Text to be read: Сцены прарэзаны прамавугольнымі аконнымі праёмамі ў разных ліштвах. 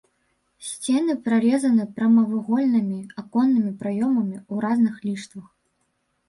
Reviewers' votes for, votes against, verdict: 1, 2, rejected